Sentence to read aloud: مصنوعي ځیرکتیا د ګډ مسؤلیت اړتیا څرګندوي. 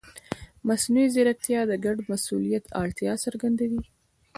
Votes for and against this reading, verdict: 2, 0, accepted